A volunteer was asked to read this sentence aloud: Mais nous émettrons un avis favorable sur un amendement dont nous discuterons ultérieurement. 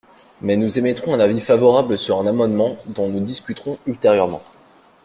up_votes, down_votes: 2, 0